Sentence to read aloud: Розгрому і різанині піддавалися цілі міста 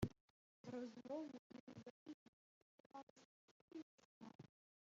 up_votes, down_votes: 0, 2